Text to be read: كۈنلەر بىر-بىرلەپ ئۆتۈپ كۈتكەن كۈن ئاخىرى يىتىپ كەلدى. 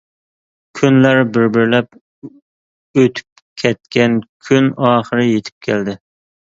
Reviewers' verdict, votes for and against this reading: rejected, 1, 2